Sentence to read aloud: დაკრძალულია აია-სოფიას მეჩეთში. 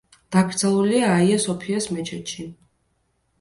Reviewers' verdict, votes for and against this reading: accepted, 2, 0